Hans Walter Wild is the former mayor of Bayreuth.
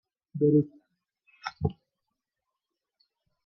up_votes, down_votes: 0, 2